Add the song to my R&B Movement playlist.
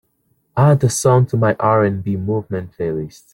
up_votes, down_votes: 2, 0